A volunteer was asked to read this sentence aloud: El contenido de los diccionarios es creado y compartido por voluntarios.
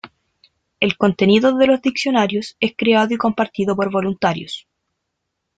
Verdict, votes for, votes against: accepted, 2, 0